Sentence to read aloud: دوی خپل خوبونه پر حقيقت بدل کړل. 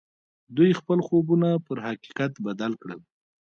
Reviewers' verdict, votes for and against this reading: accepted, 2, 1